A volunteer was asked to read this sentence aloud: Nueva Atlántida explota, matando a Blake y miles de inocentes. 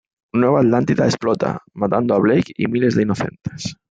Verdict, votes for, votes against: accepted, 2, 0